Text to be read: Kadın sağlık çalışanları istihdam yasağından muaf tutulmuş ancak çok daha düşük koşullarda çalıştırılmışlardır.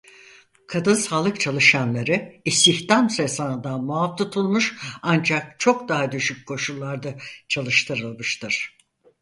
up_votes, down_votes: 0, 4